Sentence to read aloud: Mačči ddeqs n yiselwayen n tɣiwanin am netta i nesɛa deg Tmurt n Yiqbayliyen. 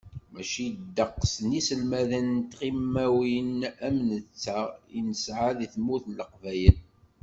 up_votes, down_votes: 1, 2